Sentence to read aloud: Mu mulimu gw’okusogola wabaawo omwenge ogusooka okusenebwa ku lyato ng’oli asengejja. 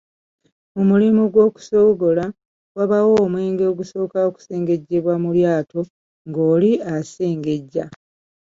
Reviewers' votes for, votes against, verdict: 1, 2, rejected